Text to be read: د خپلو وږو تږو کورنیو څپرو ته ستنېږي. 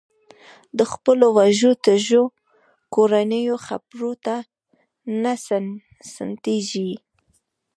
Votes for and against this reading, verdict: 0, 2, rejected